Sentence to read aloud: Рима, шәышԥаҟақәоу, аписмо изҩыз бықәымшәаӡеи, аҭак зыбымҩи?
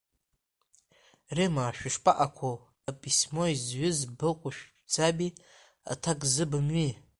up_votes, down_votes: 1, 2